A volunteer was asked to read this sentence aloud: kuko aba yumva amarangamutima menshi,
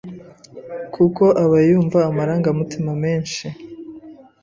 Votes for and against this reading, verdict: 2, 0, accepted